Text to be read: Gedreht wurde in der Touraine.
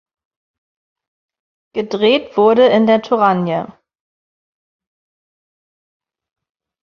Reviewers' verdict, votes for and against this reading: rejected, 0, 2